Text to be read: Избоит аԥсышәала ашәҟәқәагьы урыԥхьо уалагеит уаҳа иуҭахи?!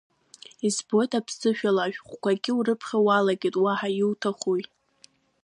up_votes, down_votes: 0, 2